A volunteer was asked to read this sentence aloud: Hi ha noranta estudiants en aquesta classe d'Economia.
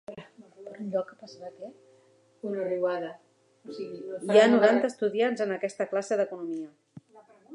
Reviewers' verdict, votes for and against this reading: rejected, 1, 2